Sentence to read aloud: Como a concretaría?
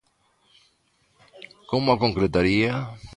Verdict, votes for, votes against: accepted, 2, 0